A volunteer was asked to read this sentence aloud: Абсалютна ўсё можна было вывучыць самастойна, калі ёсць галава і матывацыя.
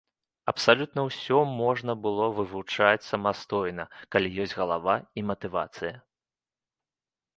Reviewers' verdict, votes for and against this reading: rejected, 0, 2